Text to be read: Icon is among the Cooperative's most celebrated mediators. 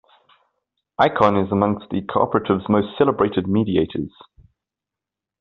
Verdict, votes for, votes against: rejected, 0, 2